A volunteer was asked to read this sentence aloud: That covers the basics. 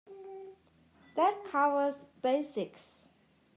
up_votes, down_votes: 0, 2